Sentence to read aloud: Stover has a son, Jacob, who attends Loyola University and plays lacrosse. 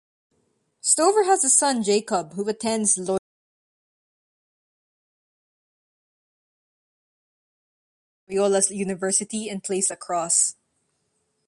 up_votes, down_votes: 0, 2